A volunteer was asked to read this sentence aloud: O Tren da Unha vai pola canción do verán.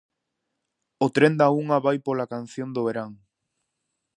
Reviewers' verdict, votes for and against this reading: accepted, 2, 0